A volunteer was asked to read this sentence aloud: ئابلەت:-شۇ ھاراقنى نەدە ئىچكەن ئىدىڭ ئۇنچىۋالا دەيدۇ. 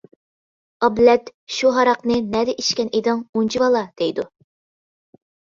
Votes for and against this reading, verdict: 2, 0, accepted